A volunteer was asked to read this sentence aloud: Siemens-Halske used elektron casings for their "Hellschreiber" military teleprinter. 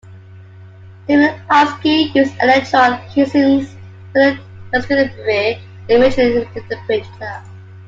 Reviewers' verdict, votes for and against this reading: rejected, 1, 2